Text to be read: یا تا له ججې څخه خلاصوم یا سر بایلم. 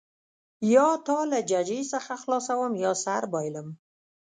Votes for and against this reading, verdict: 1, 2, rejected